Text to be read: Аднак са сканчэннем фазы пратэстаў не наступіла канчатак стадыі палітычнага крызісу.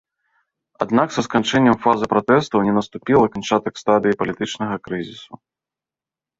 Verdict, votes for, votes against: accepted, 2, 0